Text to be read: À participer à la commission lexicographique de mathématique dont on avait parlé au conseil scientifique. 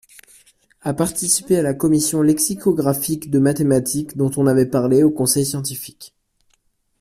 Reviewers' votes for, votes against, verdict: 2, 0, accepted